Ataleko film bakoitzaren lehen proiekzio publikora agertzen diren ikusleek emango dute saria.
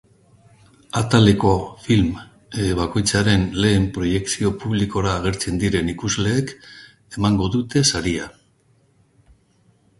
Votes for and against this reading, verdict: 0, 2, rejected